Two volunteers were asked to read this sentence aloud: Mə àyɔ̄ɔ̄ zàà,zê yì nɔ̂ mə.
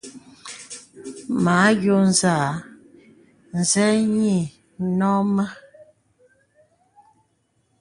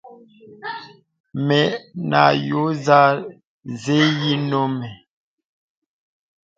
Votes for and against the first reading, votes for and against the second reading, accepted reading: 2, 0, 0, 2, first